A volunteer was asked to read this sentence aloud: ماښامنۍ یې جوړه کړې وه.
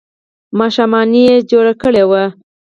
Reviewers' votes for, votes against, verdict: 4, 2, accepted